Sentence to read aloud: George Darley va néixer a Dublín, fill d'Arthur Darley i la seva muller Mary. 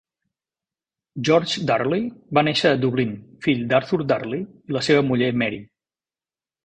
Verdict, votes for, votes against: accepted, 3, 0